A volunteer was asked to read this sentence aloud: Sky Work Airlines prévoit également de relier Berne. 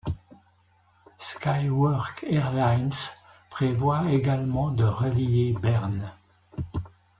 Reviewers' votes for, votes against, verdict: 1, 2, rejected